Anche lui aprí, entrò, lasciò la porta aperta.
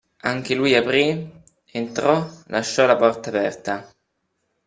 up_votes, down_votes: 2, 0